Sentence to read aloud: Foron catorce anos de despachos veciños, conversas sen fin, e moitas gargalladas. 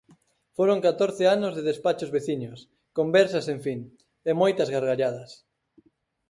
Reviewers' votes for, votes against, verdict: 4, 0, accepted